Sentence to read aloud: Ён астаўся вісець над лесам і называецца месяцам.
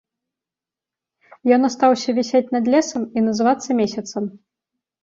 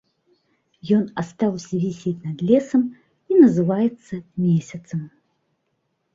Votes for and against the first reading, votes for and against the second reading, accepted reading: 0, 2, 2, 0, second